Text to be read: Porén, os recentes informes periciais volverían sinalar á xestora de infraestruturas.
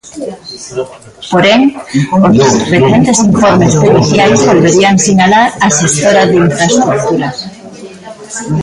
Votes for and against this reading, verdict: 0, 2, rejected